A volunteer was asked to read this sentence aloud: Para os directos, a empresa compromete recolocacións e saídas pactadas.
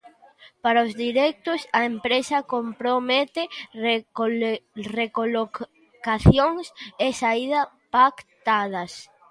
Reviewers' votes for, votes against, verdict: 0, 2, rejected